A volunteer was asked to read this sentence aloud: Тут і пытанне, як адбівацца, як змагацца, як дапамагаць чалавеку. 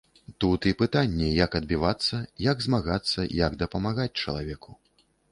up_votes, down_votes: 2, 0